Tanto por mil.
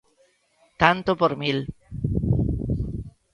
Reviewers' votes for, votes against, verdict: 2, 0, accepted